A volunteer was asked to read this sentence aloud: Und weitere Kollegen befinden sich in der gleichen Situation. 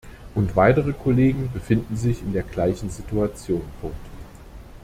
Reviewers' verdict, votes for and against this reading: rejected, 1, 2